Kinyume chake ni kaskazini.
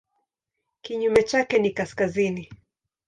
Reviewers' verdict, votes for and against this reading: accepted, 2, 0